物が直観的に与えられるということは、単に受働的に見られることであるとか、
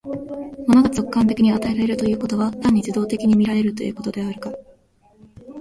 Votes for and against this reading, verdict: 1, 2, rejected